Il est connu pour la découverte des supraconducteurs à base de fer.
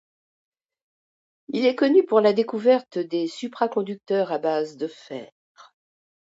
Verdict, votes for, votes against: accepted, 2, 0